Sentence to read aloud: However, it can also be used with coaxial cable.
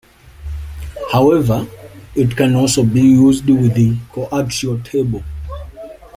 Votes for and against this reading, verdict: 2, 1, accepted